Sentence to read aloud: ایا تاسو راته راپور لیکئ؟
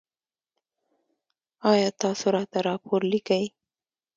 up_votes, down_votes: 2, 0